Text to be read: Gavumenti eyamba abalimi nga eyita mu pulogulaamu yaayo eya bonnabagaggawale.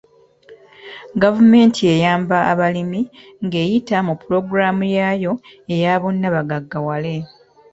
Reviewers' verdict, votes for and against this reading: accepted, 2, 0